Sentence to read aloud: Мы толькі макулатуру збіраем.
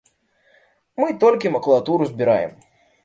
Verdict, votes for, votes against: accepted, 2, 0